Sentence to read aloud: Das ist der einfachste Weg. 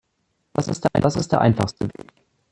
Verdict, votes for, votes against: rejected, 0, 2